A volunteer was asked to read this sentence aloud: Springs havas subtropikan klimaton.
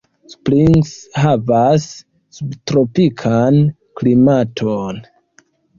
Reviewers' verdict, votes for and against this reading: accepted, 2, 0